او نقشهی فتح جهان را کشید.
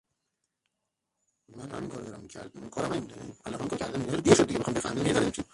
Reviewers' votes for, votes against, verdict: 0, 3, rejected